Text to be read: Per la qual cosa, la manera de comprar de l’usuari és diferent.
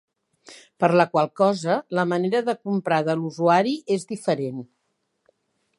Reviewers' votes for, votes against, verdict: 4, 0, accepted